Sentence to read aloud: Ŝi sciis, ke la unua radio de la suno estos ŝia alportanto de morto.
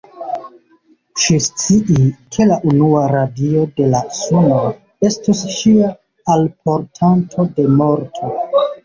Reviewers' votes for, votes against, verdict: 1, 2, rejected